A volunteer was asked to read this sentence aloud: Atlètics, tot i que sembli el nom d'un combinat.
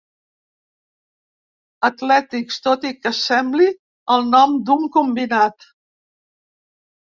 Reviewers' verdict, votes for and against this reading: accepted, 2, 0